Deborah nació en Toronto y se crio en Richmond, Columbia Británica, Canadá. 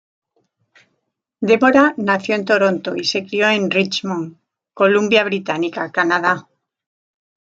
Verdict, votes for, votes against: accepted, 2, 0